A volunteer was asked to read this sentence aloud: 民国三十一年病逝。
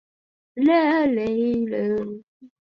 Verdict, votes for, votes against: rejected, 0, 2